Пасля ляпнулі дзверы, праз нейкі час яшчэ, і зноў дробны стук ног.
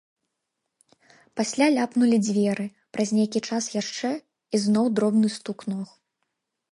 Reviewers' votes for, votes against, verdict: 2, 0, accepted